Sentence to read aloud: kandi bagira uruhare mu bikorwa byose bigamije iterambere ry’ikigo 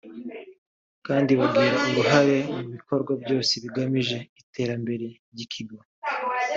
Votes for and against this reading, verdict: 2, 0, accepted